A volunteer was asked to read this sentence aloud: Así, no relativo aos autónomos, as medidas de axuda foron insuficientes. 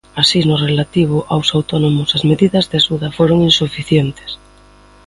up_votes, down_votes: 2, 0